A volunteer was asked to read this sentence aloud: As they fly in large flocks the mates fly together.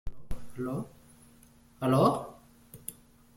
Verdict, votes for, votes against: rejected, 0, 2